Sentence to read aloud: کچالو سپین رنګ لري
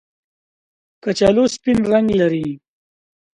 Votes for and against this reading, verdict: 6, 0, accepted